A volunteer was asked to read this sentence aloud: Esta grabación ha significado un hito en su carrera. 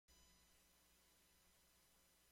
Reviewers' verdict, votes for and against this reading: rejected, 0, 2